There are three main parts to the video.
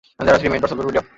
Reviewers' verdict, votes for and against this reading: rejected, 0, 2